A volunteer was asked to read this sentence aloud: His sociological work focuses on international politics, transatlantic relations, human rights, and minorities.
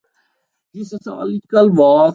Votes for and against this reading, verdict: 0, 2, rejected